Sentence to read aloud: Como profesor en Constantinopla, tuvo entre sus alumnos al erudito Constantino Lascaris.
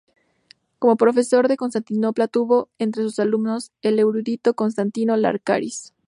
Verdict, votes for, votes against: rejected, 0, 2